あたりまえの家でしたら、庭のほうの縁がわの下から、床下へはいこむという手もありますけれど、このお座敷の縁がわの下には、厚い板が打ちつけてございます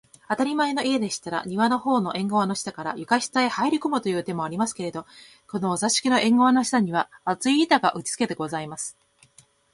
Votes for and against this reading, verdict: 5, 1, accepted